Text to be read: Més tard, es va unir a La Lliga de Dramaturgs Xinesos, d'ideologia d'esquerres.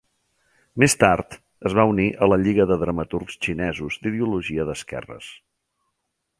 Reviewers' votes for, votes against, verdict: 3, 1, accepted